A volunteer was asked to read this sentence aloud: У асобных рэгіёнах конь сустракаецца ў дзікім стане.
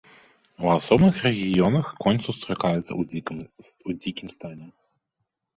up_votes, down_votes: 1, 2